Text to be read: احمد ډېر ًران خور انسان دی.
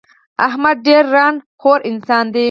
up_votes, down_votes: 4, 0